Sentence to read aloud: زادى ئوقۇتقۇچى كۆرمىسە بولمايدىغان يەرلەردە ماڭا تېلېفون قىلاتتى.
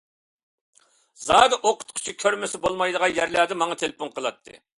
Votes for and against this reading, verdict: 2, 0, accepted